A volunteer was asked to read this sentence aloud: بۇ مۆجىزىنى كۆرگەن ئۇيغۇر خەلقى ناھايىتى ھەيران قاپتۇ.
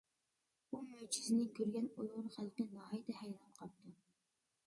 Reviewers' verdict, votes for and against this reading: rejected, 1, 2